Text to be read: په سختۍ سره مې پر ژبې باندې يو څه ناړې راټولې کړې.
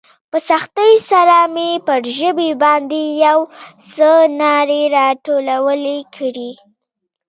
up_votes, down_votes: 3, 0